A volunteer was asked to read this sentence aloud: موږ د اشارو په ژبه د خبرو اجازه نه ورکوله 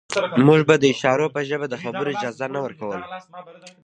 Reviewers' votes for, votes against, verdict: 2, 0, accepted